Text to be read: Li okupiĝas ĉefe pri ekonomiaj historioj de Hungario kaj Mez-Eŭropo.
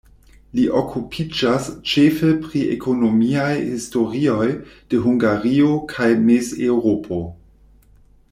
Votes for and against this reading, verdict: 2, 0, accepted